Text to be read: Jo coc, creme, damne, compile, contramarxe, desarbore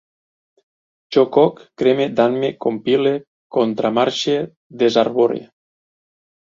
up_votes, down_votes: 4, 0